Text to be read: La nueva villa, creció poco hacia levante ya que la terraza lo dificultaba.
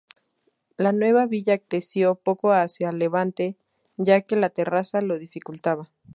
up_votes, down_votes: 2, 0